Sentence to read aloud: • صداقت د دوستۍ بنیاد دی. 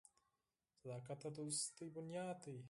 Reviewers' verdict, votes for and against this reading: accepted, 4, 0